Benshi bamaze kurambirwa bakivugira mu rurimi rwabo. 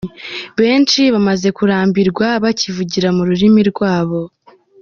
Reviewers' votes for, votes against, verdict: 2, 1, accepted